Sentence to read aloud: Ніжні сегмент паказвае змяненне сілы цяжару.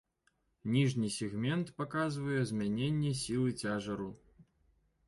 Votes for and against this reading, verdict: 1, 2, rejected